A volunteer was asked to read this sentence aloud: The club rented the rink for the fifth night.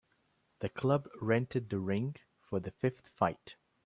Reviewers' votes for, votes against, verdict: 0, 3, rejected